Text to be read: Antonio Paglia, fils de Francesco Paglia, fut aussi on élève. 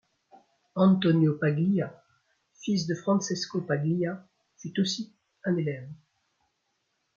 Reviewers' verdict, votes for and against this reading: rejected, 0, 2